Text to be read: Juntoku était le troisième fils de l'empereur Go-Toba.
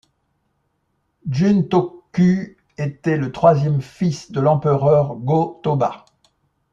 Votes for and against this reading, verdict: 2, 0, accepted